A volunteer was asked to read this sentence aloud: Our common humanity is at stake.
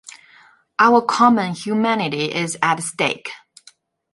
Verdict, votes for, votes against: accepted, 2, 0